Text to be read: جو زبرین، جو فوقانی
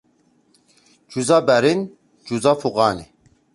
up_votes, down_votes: 1, 2